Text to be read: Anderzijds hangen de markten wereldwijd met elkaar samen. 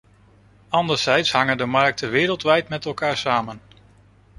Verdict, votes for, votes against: accepted, 2, 0